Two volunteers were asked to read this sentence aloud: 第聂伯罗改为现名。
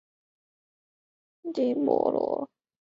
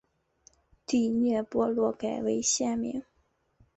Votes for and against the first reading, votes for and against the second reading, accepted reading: 0, 2, 2, 0, second